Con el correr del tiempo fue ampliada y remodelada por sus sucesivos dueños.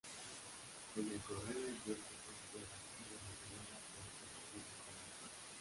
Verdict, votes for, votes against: rejected, 1, 3